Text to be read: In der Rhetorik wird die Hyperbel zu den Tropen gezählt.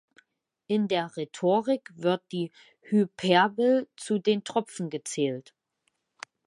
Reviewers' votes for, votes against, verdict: 0, 2, rejected